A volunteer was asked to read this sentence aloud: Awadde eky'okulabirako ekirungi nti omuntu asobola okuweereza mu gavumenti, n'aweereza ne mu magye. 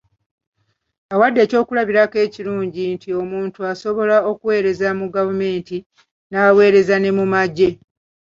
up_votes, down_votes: 3, 1